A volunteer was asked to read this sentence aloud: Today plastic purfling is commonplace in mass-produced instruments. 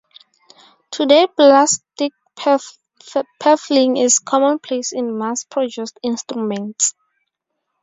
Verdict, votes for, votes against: rejected, 0, 2